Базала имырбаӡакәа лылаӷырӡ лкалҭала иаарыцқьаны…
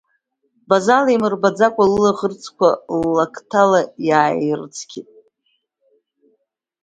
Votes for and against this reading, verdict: 0, 2, rejected